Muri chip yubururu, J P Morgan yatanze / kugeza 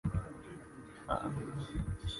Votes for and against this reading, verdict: 1, 2, rejected